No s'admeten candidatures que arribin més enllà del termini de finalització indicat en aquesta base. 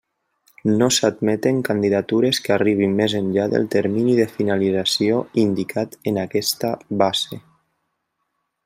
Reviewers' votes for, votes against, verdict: 3, 1, accepted